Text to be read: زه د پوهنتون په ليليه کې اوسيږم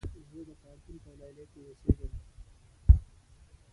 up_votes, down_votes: 0, 2